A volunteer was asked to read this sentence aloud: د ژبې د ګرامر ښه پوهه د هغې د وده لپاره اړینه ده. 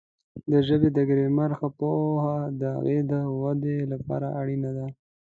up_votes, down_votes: 0, 2